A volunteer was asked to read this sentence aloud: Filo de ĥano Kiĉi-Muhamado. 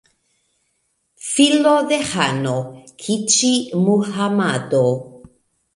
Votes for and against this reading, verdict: 1, 2, rejected